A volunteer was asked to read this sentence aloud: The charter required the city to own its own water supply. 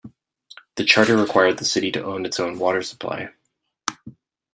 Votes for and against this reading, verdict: 2, 0, accepted